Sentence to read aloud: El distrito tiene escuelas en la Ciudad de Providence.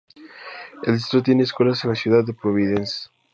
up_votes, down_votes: 2, 0